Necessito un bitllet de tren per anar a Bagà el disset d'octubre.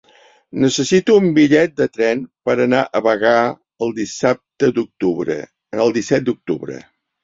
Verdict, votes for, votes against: rejected, 0, 3